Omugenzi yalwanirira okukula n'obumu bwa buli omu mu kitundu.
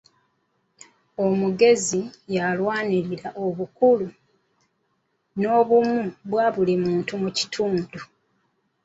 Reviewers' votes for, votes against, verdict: 1, 2, rejected